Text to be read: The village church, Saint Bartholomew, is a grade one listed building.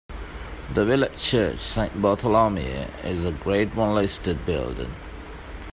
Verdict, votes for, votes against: rejected, 1, 2